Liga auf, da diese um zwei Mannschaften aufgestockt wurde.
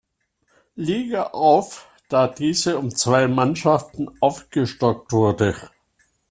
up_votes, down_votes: 2, 0